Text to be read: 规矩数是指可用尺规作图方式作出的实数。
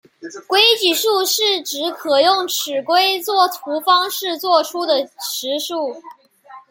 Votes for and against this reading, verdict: 2, 1, accepted